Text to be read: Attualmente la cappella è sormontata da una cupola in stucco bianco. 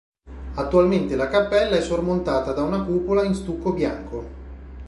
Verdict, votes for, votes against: accepted, 2, 0